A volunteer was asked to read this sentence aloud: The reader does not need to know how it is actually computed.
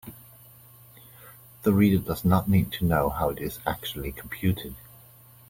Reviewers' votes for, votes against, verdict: 2, 0, accepted